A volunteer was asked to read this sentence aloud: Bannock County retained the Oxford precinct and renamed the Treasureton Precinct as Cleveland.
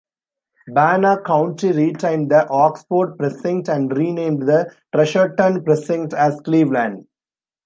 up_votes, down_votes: 2, 0